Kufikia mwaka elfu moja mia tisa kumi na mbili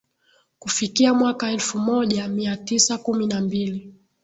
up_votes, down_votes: 4, 0